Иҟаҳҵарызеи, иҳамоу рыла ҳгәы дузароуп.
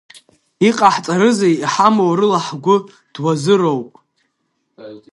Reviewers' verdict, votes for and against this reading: rejected, 0, 2